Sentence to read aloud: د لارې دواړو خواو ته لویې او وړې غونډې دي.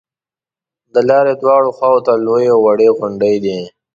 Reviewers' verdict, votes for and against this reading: rejected, 1, 2